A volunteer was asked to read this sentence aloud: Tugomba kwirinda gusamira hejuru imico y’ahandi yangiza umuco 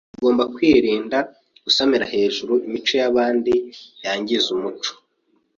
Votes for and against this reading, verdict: 0, 2, rejected